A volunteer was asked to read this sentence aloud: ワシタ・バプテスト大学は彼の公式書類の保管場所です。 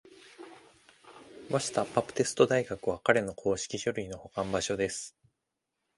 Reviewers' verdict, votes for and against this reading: accepted, 2, 0